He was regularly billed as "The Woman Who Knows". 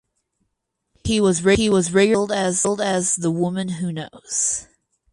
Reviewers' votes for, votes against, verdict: 0, 6, rejected